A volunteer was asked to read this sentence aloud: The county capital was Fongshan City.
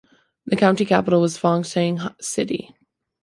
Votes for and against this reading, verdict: 0, 2, rejected